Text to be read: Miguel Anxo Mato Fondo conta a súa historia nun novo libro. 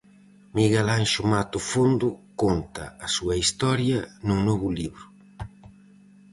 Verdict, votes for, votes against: accepted, 4, 0